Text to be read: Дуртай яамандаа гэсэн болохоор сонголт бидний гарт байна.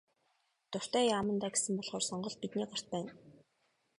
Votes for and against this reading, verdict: 1, 2, rejected